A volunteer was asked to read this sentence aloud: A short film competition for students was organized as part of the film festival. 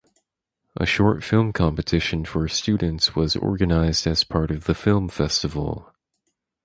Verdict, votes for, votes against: accepted, 4, 0